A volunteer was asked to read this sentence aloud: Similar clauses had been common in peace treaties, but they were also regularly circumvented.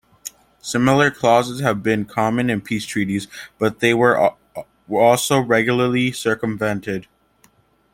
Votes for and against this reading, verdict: 1, 2, rejected